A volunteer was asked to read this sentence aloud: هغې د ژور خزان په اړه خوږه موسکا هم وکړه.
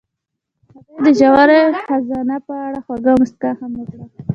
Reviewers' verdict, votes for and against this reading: accepted, 2, 0